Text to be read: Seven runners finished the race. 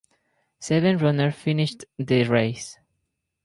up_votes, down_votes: 0, 6